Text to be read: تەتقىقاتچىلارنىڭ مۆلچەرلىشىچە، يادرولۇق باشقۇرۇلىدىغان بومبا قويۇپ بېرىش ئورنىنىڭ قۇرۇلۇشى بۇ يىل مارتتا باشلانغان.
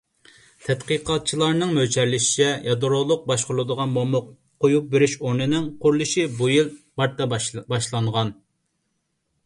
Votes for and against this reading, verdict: 1, 2, rejected